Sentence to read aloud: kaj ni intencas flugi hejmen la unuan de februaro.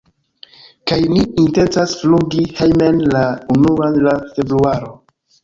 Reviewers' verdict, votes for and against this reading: rejected, 0, 2